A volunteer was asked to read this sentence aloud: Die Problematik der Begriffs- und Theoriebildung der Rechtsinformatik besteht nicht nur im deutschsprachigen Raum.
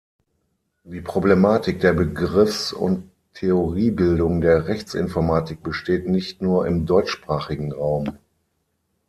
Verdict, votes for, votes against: accepted, 6, 0